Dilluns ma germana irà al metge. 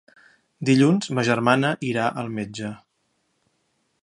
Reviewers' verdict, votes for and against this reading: accepted, 2, 0